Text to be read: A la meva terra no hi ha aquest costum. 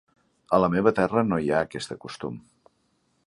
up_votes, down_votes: 0, 2